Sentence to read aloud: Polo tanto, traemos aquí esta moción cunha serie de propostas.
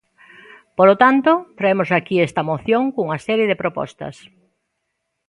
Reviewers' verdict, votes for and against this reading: accepted, 2, 0